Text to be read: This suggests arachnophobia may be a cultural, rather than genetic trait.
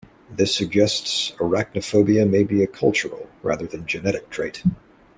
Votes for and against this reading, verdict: 2, 0, accepted